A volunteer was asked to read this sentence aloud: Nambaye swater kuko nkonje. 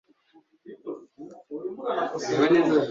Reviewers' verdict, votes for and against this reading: rejected, 1, 2